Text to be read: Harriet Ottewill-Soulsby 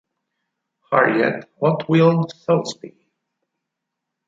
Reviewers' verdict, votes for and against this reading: rejected, 0, 6